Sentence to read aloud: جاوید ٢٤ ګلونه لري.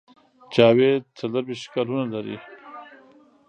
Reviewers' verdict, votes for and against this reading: rejected, 0, 2